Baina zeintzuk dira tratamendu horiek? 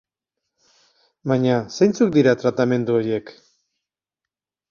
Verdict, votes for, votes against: rejected, 2, 4